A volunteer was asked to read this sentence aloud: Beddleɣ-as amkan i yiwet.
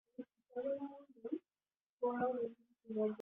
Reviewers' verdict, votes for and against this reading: rejected, 0, 2